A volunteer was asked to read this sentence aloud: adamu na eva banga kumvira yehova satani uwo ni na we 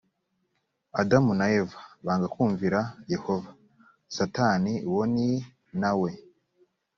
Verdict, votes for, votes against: accepted, 2, 0